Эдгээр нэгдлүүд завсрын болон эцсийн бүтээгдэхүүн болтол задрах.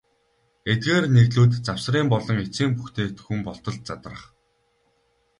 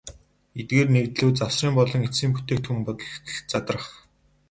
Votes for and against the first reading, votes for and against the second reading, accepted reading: 2, 0, 0, 2, first